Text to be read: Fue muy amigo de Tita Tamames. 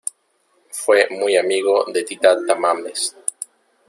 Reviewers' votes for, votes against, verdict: 0, 2, rejected